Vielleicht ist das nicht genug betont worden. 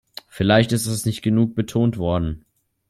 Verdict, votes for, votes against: accepted, 2, 0